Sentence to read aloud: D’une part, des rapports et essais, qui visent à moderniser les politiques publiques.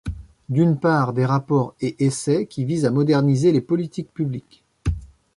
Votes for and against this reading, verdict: 2, 1, accepted